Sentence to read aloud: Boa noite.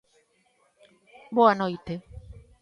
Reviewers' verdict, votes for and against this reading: accepted, 2, 0